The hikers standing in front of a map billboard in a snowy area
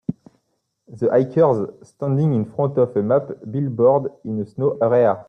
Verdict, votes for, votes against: rejected, 0, 2